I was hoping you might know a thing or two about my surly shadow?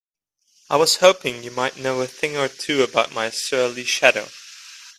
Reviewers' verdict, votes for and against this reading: accepted, 2, 0